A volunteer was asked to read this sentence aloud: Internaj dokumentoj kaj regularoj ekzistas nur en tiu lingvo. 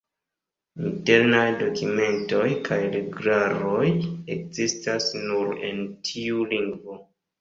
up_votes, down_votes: 2, 3